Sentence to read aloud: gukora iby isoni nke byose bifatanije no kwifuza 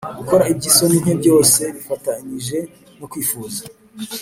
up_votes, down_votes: 3, 0